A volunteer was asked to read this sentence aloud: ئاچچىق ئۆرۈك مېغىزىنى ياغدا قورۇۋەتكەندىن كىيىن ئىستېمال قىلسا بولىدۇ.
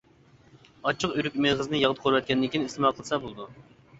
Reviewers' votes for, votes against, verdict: 0, 2, rejected